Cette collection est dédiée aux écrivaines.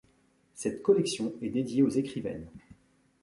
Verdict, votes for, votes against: accepted, 2, 0